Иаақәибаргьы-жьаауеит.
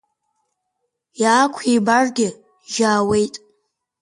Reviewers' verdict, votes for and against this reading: accepted, 6, 4